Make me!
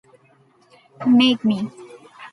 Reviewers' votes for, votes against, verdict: 3, 0, accepted